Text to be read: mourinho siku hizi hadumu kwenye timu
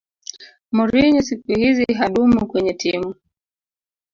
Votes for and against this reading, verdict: 0, 2, rejected